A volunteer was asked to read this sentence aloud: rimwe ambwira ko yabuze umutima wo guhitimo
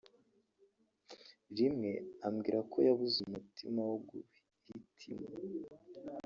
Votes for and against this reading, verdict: 0, 2, rejected